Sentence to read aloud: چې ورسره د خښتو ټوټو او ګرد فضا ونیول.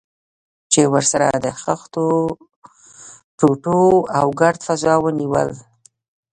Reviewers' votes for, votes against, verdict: 2, 0, accepted